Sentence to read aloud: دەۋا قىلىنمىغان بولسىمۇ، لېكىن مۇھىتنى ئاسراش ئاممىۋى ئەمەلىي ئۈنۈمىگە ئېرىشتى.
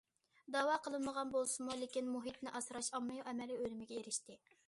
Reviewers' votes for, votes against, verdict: 2, 0, accepted